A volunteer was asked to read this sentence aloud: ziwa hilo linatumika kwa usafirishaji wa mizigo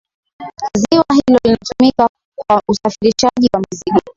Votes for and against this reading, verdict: 9, 12, rejected